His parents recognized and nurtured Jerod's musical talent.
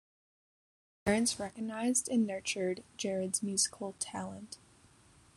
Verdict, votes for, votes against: rejected, 0, 2